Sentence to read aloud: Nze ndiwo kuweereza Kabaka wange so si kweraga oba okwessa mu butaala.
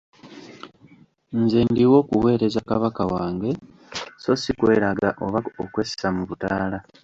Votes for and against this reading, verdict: 1, 2, rejected